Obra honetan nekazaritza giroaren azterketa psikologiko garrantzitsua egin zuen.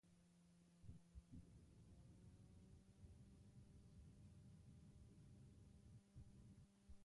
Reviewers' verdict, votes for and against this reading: rejected, 0, 2